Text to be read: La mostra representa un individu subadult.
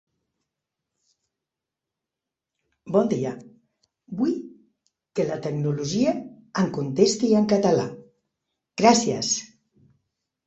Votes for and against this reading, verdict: 0, 2, rejected